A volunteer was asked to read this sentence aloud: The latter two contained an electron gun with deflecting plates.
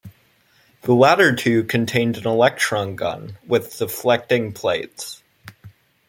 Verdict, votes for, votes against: accepted, 2, 0